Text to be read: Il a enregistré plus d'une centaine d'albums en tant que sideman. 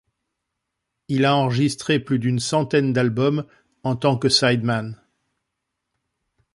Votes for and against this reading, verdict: 2, 0, accepted